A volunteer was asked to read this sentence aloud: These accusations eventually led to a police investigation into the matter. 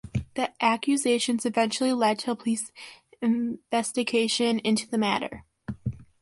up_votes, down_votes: 0, 2